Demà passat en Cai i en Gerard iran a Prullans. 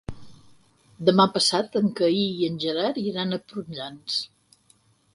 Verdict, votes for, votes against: rejected, 0, 4